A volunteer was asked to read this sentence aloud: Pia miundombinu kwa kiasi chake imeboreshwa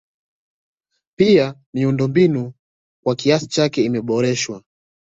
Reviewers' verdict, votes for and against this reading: accepted, 2, 0